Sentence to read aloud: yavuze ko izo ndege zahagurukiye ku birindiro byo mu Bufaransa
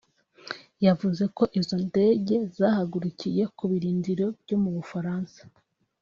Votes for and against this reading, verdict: 2, 0, accepted